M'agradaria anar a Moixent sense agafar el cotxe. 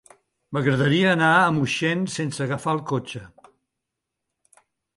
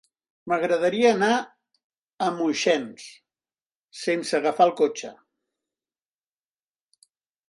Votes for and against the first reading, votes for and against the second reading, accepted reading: 3, 0, 1, 2, first